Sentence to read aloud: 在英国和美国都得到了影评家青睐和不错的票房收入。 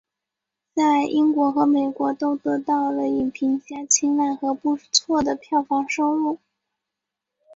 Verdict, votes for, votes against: accepted, 2, 0